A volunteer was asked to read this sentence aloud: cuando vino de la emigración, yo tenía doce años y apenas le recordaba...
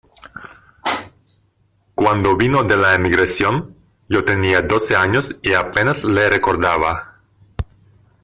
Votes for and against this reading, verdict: 2, 0, accepted